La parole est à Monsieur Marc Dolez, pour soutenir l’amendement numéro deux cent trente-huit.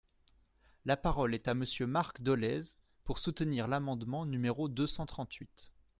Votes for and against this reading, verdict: 2, 0, accepted